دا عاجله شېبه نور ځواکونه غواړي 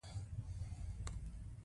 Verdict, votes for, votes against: accepted, 2, 1